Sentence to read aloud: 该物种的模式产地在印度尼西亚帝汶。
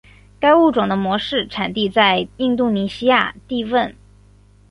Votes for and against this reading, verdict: 6, 0, accepted